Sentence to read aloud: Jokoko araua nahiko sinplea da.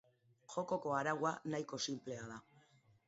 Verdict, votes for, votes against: accepted, 2, 0